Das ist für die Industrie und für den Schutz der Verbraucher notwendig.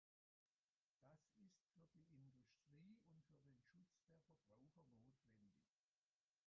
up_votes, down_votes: 0, 2